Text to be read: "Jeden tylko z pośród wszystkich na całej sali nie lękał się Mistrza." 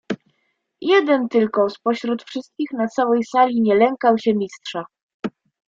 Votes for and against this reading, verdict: 2, 0, accepted